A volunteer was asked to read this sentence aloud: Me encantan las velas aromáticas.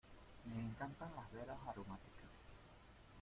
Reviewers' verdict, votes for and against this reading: rejected, 1, 2